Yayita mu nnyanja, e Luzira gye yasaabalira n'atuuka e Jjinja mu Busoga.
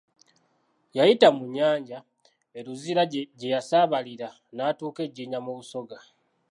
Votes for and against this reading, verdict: 1, 2, rejected